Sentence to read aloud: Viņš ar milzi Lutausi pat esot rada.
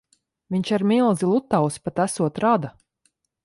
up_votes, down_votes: 2, 0